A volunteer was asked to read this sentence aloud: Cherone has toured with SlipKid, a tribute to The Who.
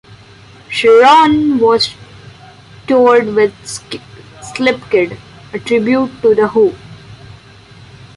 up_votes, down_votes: 0, 2